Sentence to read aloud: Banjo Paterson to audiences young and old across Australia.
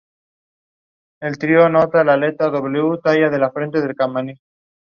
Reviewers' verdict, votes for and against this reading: rejected, 0, 3